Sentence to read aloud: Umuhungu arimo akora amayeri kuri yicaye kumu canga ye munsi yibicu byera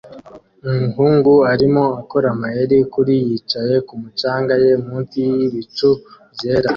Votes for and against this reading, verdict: 2, 0, accepted